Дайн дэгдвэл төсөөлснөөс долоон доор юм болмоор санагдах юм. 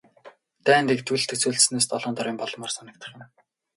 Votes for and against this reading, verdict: 0, 2, rejected